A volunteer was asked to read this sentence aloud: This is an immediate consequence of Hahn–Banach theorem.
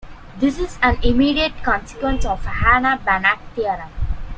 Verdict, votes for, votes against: rejected, 0, 2